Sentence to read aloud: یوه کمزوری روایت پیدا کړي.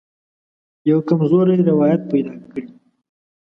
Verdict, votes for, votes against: accepted, 2, 0